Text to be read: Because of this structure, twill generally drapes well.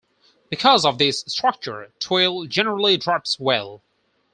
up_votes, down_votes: 4, 2